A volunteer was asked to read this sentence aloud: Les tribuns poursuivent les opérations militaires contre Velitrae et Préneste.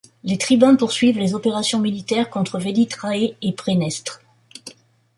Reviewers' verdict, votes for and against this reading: rejected, 0, 2